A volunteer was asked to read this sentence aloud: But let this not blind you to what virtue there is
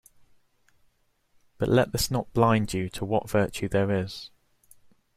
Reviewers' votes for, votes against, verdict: 2, 0, accepted